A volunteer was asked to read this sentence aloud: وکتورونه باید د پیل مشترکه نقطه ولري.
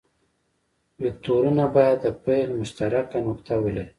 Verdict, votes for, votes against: rejected, 1, 2